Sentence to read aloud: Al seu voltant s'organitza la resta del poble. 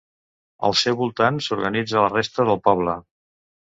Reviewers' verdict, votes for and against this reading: accepted, 2, 0